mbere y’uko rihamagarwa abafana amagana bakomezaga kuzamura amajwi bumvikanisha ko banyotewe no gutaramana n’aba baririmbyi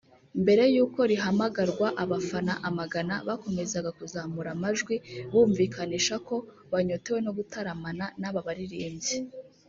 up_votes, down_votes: 0, 2